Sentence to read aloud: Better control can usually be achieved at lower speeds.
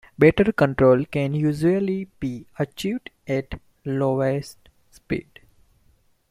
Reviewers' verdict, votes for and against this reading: rejected, 0, 2